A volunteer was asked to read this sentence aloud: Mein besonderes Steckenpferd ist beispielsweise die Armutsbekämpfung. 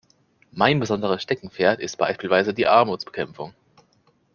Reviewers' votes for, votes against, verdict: 2, 0, accepted